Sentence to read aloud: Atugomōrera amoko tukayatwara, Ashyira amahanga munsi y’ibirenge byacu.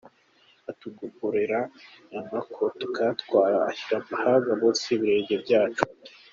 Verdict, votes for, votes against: rejected, 0, 2